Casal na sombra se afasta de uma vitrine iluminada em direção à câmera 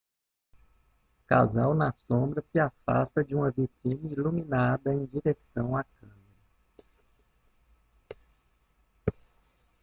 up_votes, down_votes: 1, 2